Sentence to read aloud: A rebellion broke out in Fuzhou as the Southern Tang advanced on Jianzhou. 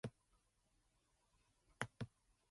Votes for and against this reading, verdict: 0, 2, rejected